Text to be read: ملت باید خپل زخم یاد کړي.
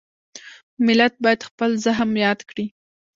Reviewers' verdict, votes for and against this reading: accepted, 2, 0